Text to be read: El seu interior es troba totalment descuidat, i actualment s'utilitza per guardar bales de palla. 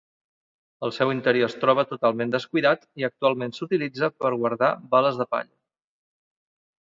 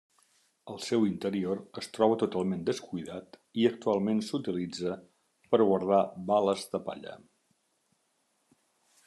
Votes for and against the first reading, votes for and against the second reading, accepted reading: 1, 2, 2, 0, second